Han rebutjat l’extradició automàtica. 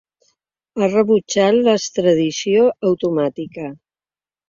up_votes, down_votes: 1, 2